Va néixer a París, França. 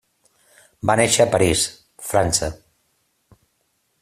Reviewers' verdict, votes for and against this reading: accepted, 3, 0